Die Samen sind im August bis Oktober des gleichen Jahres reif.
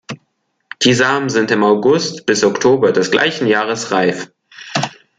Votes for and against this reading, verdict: 2, 0, accepted